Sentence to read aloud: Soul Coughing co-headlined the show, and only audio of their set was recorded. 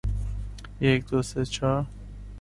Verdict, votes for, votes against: rejected, 0, 2